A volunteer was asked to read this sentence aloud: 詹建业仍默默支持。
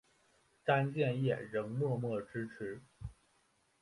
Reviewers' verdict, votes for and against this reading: accepted, 5, 1